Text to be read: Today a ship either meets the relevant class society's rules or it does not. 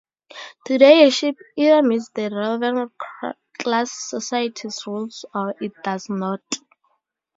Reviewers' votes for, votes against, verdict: 2, 2, rejected